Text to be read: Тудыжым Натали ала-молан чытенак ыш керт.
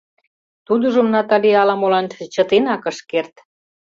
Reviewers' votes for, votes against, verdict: 2, 0, accepted